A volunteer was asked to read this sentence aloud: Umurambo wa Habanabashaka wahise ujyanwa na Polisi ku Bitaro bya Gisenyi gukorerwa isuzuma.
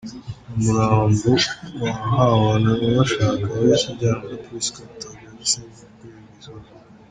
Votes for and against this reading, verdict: 0, 3, rejected